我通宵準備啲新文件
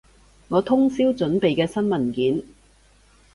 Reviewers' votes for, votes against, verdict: 2, 2, rejected